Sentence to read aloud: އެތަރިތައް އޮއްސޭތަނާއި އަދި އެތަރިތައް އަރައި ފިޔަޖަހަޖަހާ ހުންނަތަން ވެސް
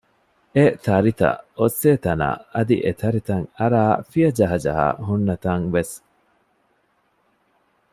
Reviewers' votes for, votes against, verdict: 2, 0, accepted